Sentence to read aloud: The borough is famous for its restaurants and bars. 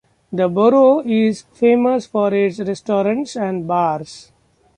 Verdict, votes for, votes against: rejected, 1, 2